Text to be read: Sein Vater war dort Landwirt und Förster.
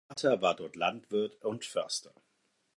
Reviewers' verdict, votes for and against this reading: rejected, 0, 4